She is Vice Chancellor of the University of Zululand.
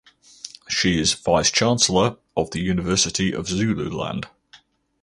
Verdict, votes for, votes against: accepted, 4, 0